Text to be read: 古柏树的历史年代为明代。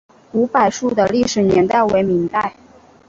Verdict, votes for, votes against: accepted, 2, 0